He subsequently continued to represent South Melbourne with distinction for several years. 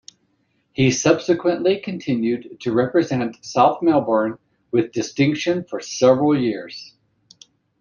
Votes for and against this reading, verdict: 2, 0, accepted